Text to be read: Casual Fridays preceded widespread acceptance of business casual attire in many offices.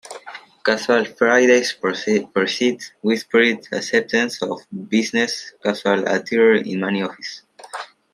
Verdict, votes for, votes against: rejected, 0, 2